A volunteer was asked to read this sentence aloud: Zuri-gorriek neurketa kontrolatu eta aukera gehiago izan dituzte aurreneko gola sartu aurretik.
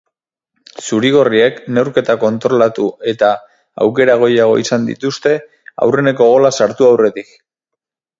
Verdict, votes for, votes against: rejected, 0, 4